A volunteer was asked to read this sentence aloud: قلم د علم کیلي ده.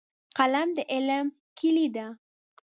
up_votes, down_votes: 2, 0